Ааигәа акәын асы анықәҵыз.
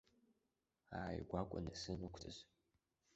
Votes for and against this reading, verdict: 1, 2, rejected